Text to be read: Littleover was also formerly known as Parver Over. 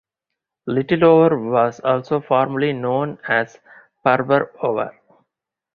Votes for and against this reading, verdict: 2, 2, rejected